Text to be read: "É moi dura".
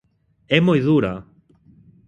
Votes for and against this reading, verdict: 2, 0, accepted